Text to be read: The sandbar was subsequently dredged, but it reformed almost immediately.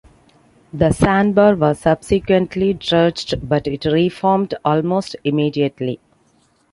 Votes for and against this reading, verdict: 2, 0, accepted